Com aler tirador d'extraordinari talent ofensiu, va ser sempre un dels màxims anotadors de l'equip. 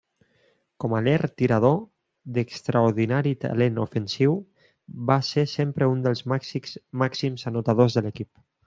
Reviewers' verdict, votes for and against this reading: rejected, 0, 2